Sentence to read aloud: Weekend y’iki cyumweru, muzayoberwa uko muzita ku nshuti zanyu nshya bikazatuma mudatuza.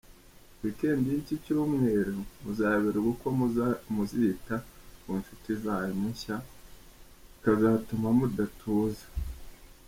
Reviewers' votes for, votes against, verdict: 1, 2, rejected